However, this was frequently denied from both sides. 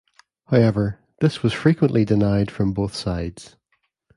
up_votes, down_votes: 1, 2